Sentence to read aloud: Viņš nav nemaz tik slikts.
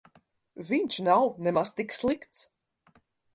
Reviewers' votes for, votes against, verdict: 4, 0, accepted